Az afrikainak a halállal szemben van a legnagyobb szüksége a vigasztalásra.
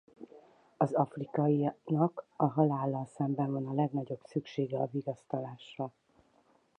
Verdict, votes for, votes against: rejected, 0, 4